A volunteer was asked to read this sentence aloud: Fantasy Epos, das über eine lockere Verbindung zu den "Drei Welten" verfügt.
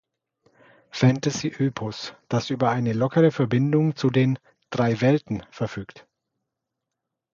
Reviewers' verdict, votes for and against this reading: rejected, 0, 2